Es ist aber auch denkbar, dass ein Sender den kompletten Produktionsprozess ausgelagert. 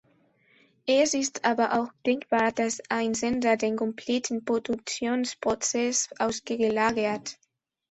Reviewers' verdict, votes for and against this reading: accepted, 2, 1